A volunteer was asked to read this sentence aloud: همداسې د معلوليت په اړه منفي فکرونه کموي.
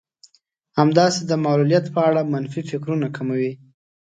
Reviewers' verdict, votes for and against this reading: accepted, 2, 0